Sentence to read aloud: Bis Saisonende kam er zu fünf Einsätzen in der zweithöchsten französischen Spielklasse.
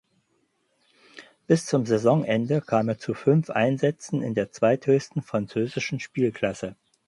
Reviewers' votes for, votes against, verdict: 0, 4, rejected